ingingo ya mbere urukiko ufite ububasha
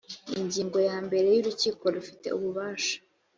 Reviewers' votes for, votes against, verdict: 2, 0, accepted